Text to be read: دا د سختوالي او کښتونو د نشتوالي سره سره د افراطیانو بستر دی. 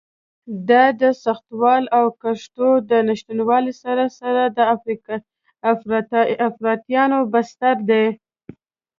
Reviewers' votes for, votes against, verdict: 0, 2, rejected